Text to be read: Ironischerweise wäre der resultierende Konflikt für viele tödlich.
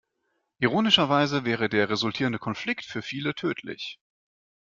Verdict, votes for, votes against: accepted, 2, 0